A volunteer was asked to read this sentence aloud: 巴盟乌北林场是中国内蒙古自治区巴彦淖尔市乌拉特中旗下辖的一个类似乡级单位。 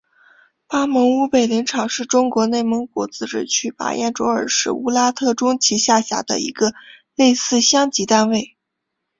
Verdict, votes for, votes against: accepted, 2, 0